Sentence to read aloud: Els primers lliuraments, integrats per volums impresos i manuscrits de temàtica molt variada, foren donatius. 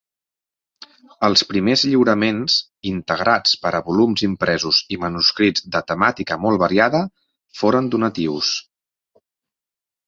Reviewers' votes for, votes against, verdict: 1, 2, rejected